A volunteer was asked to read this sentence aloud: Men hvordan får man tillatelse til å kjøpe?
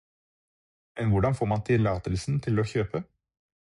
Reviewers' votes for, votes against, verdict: 0, 4, rejected